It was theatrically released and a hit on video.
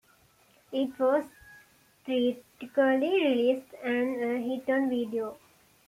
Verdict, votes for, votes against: rejected, 0, 2